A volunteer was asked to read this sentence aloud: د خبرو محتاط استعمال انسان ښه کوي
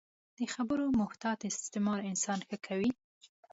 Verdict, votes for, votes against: accepted, 2, 0